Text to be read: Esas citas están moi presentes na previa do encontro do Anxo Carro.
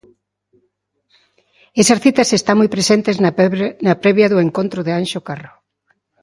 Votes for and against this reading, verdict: 1, 2, rejected